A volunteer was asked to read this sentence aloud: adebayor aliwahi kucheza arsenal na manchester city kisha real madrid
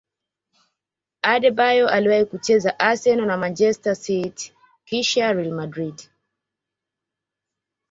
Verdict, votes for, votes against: accepted, 2, 1